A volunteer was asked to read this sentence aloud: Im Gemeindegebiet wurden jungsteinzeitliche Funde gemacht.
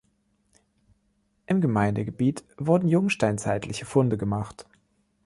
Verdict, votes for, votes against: accepted, 2, 0